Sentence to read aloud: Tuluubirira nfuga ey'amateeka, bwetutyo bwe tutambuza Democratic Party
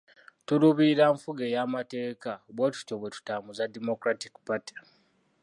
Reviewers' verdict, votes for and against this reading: accepted, 2, 1